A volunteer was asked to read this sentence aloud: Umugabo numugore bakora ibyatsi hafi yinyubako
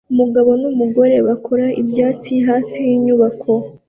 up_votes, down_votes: 2, 0